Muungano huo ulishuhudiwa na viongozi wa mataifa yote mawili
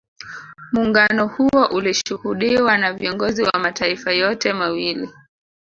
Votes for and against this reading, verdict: 2, 0, accepted